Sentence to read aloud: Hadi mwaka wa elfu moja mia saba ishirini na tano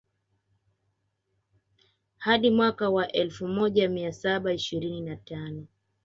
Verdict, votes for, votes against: rejected, 0, 2